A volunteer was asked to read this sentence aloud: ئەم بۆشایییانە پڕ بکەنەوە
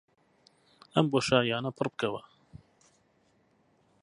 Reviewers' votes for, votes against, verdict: 0, 4, rejected